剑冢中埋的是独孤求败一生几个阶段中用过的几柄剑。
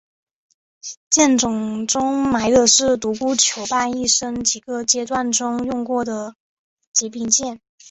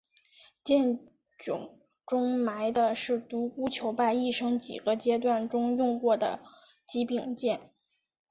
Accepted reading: first